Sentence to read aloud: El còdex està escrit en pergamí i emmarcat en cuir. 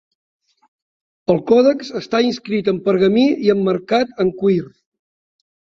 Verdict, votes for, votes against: accepted, 2, 0